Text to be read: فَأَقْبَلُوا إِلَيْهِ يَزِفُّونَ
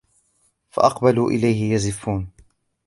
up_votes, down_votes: 1, 2